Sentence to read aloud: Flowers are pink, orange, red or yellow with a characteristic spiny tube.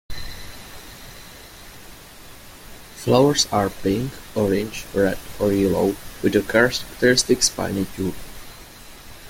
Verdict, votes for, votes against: accepted, 2, 1